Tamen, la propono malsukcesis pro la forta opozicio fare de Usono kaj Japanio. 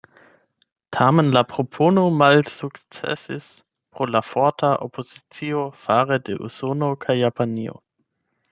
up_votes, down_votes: 0, 8